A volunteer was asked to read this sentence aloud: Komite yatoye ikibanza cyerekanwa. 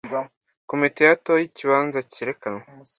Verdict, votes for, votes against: accepted, 2, 0